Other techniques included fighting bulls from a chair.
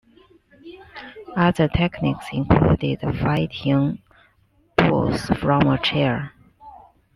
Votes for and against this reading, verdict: 2, 0, accepted